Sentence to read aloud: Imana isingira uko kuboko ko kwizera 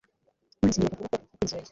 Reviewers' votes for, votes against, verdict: 1, 2, rejected